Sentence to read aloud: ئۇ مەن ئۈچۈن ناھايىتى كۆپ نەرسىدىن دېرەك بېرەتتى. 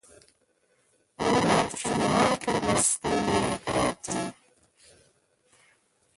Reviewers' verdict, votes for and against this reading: rejected, 0, 2